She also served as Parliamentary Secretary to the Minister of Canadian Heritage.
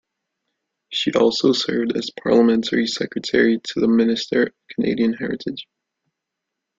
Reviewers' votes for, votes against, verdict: 2, 0, accepted